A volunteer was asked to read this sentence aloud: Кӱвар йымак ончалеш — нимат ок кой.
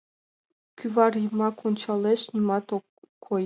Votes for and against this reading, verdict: 3, 4, rejected